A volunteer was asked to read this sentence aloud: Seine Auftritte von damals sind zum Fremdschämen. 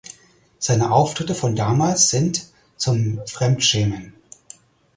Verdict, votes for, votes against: accepted, 4, 0